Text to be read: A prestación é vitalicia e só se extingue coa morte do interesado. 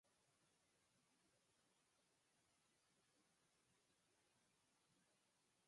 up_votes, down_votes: 0, 4